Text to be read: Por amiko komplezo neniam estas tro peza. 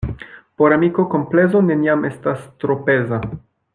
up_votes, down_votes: 1, 2